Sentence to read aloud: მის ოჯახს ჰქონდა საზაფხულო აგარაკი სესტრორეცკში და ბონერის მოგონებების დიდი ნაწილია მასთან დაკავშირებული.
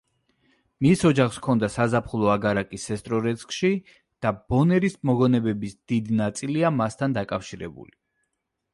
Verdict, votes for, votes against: rejected, 1, 2